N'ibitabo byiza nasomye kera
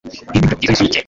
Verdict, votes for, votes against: rejected, 0, 2